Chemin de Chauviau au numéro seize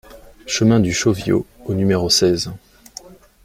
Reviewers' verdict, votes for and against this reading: rejected, 1, 2